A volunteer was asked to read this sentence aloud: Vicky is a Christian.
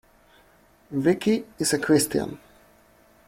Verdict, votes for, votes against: accepted, 2, 1